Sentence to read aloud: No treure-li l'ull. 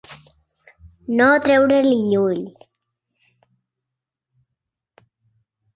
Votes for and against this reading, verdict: 2, 0, accepted